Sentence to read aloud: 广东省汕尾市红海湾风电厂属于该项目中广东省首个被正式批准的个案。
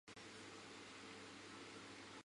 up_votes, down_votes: 2, 0